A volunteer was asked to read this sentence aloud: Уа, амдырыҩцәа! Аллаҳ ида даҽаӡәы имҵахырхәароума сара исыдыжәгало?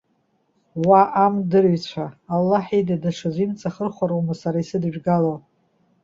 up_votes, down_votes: 2, 0